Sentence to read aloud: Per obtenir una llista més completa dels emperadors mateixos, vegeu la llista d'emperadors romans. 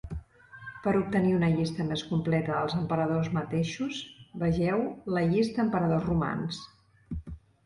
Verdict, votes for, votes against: rejected, 0, 2